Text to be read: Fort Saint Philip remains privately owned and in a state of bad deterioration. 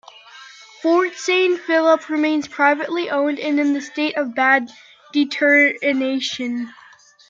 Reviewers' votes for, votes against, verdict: 0, 2, rejected